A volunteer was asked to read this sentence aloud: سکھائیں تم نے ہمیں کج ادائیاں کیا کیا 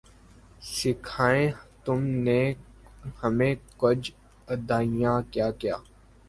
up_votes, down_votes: 1, 2